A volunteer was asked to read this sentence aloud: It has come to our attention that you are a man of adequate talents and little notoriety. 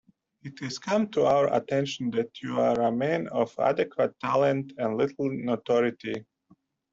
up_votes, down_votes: 1, 2